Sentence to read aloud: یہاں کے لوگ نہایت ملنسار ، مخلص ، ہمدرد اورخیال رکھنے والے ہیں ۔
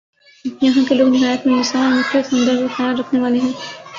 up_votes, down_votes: 0, 2